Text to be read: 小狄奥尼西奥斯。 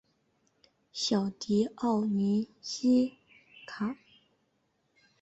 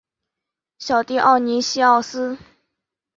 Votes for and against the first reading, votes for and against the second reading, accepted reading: 0, 2, 2, 0, second